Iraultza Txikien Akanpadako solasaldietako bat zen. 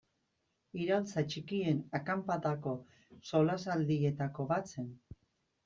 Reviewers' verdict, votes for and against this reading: accepted, 2, 0